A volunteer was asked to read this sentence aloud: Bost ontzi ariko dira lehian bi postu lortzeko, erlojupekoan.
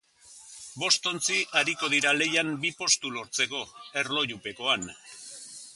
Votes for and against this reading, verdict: 2, 0, accepted